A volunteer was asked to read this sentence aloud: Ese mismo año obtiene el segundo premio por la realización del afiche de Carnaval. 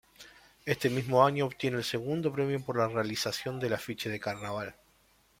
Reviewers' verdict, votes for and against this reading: rejected, 1, 2